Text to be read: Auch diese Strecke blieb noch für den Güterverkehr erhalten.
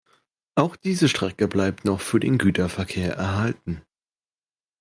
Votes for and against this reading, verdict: 1, 2, rejected